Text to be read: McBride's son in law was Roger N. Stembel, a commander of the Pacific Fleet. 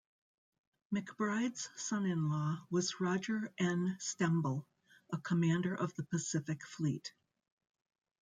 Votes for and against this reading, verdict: 2, 0, accepted